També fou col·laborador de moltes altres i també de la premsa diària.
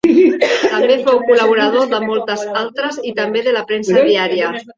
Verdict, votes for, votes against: rejected, 1, 2